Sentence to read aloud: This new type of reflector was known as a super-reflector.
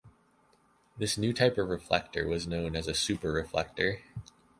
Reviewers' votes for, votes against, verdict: 2, 0, accepted